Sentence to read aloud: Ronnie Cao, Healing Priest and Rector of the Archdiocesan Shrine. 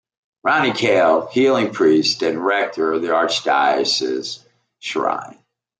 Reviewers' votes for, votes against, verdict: 2, 0, accepted